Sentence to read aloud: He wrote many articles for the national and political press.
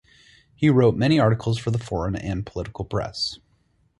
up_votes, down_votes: 0, 4